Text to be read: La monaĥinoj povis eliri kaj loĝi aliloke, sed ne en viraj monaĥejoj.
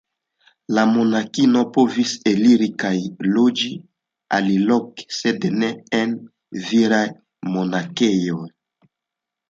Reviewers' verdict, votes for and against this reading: accepted, 2, 0